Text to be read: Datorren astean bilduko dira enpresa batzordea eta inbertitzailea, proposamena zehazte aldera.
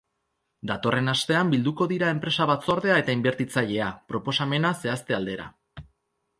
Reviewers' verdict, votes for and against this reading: accepted, 2, 0